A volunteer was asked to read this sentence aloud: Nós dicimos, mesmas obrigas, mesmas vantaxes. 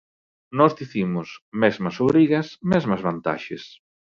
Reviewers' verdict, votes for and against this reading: accepted, 2, 0